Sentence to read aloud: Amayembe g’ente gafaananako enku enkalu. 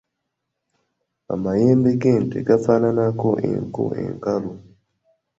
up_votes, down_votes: 2, 0